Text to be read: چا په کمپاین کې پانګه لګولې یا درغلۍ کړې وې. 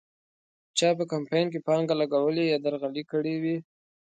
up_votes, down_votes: 2, 1